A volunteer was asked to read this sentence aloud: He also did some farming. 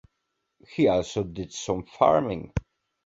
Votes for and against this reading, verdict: 2, 0, accepted